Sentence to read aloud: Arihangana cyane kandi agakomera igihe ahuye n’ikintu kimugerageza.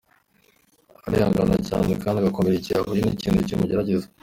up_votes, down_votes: 0, 2